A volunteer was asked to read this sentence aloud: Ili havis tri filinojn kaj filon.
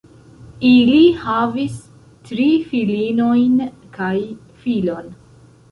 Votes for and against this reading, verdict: 0, 2, rejected